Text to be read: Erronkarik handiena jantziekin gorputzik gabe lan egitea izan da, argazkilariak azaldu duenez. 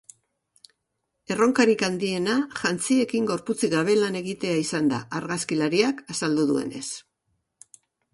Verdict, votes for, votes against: accepted, 2, 0